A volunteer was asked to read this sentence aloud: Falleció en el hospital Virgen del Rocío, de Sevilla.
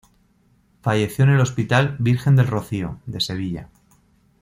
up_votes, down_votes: 2, 0